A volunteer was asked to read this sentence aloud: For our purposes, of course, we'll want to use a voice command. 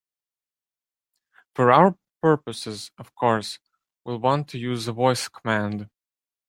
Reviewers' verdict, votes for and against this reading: rejected, 1, 2